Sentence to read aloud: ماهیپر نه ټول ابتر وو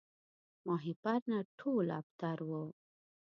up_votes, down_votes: 2, 0